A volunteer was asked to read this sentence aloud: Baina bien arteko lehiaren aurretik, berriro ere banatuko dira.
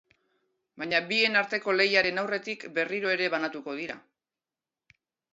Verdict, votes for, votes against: rejected, 1, 2